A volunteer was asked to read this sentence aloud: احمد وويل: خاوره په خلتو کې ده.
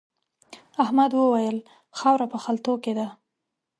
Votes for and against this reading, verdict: 2, 0, accepted